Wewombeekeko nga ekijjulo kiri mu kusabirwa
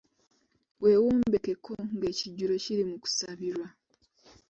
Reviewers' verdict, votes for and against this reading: rejected, 0, 2